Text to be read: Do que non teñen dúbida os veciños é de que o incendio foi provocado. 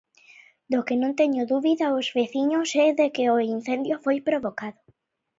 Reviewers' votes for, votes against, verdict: 1, 2, rejected